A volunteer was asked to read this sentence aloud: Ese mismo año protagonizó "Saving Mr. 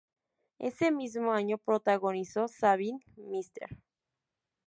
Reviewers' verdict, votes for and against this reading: rejected, 0, 2